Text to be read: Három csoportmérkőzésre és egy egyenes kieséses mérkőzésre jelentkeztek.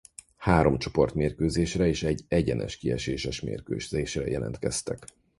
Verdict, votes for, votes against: rejected, 2, 4